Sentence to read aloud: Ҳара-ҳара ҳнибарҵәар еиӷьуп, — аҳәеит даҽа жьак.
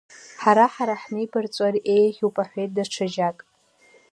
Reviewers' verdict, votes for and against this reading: rejected, 1, 2